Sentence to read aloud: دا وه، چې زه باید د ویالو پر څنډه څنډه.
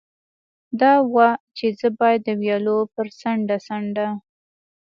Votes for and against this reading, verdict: 2, 0, accepted